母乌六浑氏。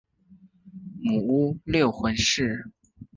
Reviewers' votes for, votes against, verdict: 9, 0, accepted